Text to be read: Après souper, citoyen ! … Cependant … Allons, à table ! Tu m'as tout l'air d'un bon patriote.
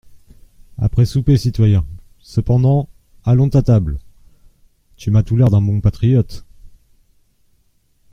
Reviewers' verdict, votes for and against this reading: rejected, 0, 2